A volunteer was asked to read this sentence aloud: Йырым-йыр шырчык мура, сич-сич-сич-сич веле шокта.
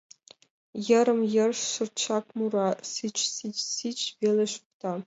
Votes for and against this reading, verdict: 0, 2, rejected